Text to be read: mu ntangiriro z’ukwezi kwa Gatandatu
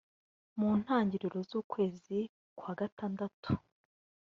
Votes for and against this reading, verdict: 2, 0, accepted